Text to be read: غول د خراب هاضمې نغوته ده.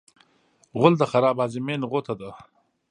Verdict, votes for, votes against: rejected, 1, 2